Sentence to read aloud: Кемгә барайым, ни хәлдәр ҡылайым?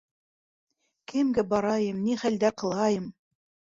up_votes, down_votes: 0, 2